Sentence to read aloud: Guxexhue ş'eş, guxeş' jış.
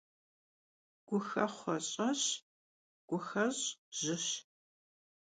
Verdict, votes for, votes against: rejected, 0, 2